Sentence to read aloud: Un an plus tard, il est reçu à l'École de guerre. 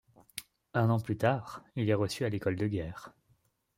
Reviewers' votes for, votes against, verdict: 2, 0, accepted